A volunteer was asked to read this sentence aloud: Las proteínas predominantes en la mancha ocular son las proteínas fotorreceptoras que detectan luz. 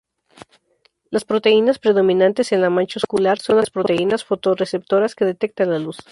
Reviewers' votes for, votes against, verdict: 0, 2, rejected